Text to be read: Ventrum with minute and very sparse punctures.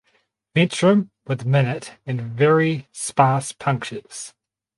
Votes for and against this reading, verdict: 2, 4, rejected